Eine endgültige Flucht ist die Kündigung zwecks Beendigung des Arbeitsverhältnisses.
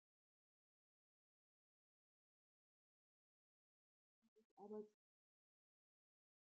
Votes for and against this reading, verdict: 0, 2, rejected